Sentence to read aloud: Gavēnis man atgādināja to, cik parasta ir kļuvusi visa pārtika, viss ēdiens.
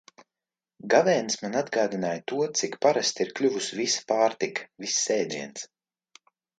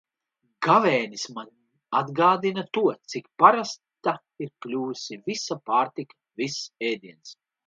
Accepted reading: first